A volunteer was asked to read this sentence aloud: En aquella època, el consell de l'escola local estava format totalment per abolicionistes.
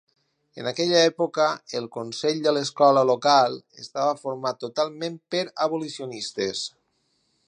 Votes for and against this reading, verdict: 4, 0, accepted